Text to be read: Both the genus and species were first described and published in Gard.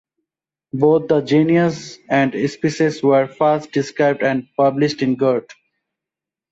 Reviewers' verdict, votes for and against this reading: rejected, 0, 2